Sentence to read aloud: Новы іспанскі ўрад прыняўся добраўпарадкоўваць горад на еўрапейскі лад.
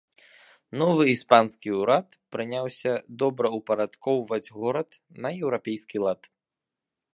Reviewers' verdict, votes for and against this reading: accepted, 2, 0